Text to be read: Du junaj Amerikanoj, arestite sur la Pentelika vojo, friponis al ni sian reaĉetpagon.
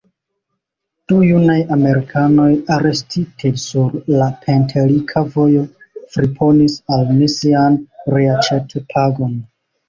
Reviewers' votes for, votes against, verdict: 2, 0, accepted